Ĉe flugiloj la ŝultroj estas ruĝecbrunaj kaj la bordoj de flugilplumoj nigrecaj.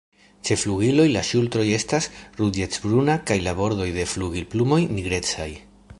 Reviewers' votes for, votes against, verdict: 1, 2, rejected